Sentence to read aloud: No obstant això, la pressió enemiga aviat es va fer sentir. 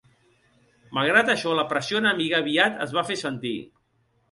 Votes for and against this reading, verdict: 0, 2, rejected